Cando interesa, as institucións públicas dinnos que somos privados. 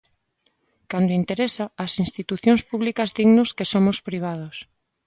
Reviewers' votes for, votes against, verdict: 3, 0, accepted